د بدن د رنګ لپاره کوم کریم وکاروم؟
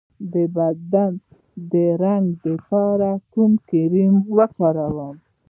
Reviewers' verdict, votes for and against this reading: rejected, 1, 2